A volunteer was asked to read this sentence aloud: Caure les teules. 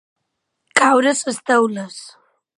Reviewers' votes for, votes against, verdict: 2, 1, accepted